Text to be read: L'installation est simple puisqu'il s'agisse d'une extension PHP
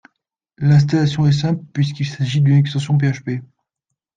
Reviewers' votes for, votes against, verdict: 2, 1, accepted